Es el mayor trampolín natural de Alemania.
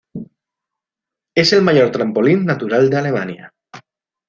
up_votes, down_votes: 2, 0